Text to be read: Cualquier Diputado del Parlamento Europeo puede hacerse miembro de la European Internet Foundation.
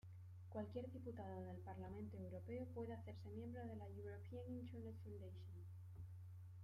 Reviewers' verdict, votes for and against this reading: rejected, 0, 2